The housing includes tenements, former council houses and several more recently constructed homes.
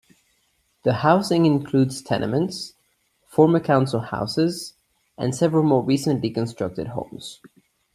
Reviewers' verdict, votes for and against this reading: accepted, 2, 0